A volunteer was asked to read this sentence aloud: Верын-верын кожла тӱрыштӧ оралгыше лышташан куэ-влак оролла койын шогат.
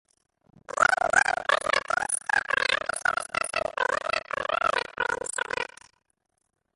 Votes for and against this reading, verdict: 0, 2, rejected